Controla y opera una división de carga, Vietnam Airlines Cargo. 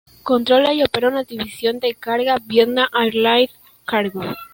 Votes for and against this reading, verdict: 0, 2, rejected